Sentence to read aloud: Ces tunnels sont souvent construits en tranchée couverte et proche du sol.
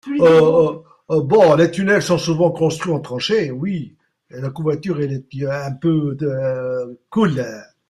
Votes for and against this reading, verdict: 0, 2, rejected